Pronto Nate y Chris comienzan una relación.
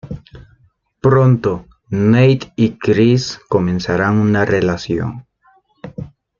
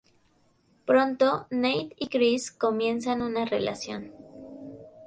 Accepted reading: second